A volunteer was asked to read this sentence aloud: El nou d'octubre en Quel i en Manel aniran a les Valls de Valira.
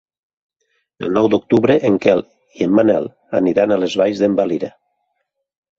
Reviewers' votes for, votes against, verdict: 0, 2, rejected